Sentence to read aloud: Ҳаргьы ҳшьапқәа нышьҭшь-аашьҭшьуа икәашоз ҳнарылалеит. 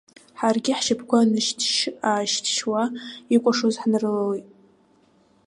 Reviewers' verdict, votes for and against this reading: accepted, 2, 1